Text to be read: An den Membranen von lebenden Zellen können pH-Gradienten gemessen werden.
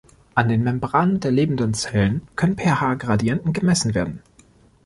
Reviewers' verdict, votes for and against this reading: rejected, 1, 2